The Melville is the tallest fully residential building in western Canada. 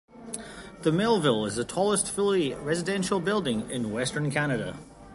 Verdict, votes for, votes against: accepted, 2, 0